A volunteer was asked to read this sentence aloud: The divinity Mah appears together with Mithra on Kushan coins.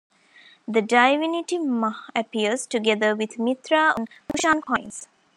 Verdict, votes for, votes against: rejected, 0, 2